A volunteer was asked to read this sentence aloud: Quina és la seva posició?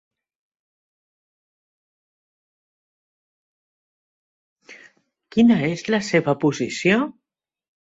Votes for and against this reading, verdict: 0, 2, rejected